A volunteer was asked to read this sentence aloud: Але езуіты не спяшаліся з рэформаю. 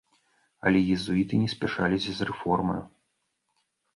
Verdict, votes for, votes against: accepted, 3, 0